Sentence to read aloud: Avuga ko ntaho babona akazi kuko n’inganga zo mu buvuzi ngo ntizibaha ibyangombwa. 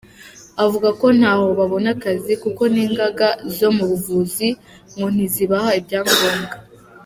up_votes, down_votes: 3, 0